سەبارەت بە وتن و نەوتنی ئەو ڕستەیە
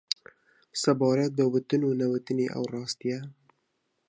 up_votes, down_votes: 1, 3